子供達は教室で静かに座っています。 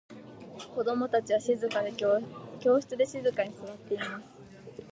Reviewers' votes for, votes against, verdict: 0, 2, rejected